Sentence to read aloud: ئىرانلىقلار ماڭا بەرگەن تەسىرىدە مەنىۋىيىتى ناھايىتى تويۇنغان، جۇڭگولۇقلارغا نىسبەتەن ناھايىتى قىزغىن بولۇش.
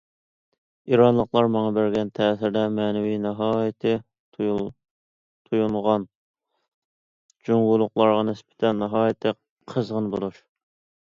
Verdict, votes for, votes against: rejected, 0, 2